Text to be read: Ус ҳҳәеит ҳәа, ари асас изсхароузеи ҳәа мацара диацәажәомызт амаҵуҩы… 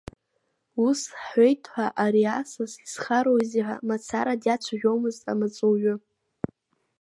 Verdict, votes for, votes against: rejected, 1, 2